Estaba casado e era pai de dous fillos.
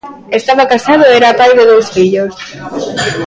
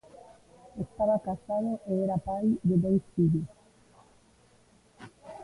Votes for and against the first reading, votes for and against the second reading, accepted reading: 2, 0, 0, 2, first